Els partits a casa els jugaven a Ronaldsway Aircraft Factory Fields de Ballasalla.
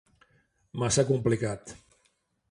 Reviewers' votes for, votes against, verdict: 0, 2, rejected